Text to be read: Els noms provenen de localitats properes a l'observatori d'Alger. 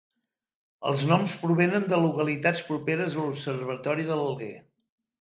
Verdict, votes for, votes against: rejected, 0, 2